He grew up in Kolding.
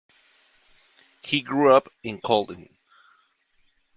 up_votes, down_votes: 2, 0